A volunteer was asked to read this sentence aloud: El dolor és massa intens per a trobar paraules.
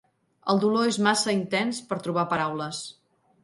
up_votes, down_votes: 1, 2